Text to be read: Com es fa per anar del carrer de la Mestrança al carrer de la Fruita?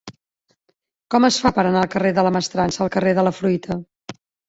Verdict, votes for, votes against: rejected, 1, 2